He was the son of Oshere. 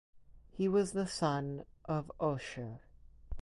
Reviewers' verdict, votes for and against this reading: rejected, 2, 2